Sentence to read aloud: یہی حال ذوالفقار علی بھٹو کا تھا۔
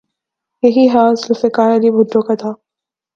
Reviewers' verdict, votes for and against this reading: accepted, 3, 0